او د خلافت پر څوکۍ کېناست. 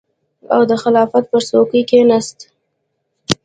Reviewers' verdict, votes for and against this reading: accepted, 2, 0